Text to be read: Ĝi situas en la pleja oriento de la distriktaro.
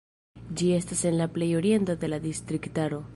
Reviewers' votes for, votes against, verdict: 0, 2, rejected